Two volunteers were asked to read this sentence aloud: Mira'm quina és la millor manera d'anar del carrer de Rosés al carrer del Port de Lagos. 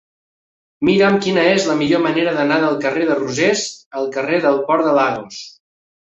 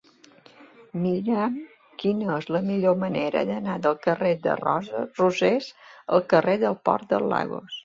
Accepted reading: first